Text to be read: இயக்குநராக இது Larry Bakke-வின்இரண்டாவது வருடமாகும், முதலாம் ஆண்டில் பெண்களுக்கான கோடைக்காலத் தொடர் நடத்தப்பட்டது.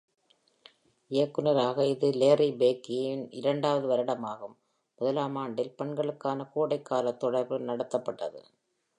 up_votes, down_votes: 2, 0